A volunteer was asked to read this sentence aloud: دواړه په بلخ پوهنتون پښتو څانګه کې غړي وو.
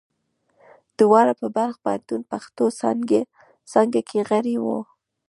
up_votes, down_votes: 0, 2